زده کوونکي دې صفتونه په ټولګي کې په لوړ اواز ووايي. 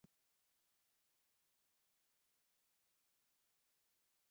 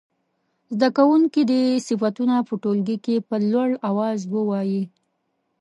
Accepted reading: second